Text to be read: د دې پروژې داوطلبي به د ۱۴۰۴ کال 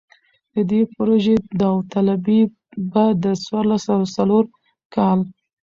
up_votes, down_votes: 0, 2